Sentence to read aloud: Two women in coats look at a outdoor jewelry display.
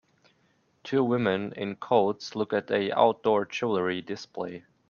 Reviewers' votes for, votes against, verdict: 2, 0, accepted